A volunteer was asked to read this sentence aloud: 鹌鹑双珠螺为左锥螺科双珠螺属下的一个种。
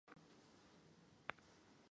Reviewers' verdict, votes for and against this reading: rejected, 1, 2